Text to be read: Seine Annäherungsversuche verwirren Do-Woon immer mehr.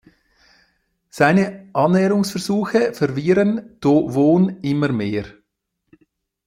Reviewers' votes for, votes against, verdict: 1, 2, rejected